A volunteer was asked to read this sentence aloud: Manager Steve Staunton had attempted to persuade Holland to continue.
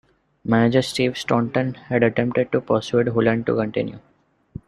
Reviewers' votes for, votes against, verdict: 2, 1, accepted